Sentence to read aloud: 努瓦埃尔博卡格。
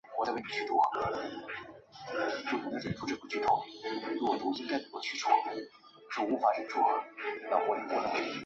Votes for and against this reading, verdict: 1, 2, rejected